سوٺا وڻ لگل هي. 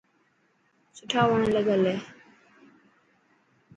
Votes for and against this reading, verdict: 4, 0, accepted